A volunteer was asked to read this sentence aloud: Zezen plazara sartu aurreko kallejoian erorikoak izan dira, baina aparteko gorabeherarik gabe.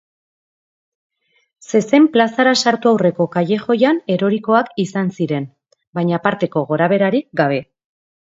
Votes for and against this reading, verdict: 1, 2, rejected